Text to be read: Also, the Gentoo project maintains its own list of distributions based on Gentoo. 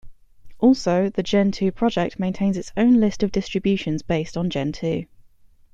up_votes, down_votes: 2, 0